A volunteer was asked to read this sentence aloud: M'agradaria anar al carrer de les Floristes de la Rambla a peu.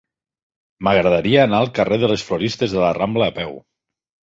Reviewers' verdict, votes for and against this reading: accepted, 4, 0